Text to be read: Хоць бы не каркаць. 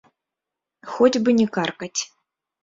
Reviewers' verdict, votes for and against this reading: accepted, 2, 1